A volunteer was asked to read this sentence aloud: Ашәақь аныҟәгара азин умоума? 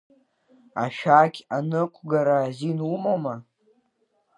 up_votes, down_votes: 3, 0